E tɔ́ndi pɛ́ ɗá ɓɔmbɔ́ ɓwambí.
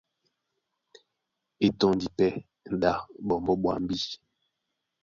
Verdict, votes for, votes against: accepted, 2, 0